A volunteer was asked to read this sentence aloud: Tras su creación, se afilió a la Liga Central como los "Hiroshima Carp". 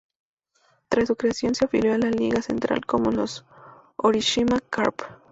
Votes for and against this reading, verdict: 0, 2, rejected